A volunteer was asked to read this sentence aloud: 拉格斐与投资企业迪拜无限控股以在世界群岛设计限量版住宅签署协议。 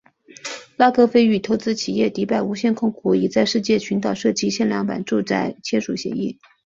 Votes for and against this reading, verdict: 2, 1, accepted